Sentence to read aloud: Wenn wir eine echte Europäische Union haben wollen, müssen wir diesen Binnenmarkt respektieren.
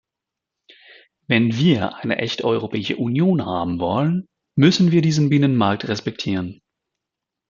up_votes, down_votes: 1, 2